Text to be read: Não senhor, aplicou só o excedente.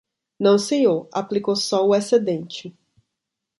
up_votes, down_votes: 2, 0